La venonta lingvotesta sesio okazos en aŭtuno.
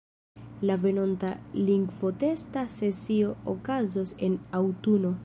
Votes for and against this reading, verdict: 2, 1, accepted